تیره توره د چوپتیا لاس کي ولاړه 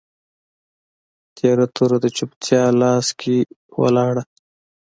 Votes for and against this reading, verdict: 2, 0, accepted